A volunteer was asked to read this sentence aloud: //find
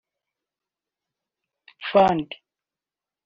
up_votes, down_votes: 0, 2